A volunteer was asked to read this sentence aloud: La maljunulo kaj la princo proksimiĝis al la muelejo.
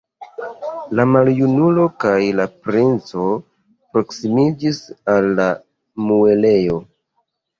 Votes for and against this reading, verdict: 2, 1, accepted